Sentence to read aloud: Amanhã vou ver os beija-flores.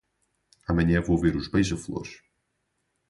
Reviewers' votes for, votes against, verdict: 2, 2, rejected